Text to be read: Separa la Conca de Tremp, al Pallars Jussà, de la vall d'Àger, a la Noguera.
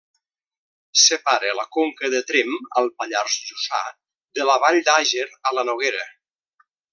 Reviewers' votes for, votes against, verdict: 2, 0, accepted